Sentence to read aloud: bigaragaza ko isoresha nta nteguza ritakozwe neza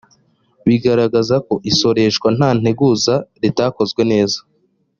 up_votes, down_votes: 2, 1